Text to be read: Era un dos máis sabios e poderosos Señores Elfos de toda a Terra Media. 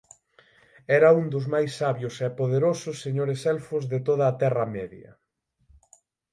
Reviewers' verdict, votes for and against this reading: accepted, 6, 0